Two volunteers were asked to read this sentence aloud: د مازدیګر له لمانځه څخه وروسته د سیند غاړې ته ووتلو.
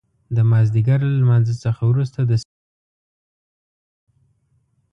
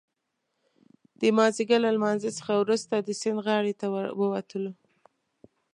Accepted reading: second